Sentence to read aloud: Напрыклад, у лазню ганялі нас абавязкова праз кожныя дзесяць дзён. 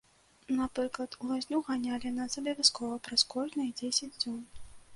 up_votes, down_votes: 0, 2